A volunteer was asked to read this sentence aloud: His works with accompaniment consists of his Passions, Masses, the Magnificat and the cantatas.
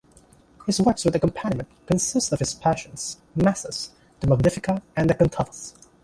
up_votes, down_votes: 1, 2